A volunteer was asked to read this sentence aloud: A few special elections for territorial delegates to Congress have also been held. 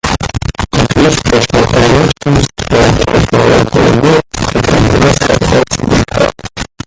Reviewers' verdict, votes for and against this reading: rejected, 0, 2